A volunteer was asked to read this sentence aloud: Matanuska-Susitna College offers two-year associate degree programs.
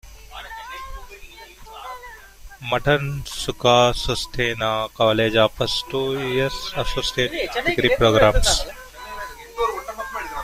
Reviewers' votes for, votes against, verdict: 3, 4, rejected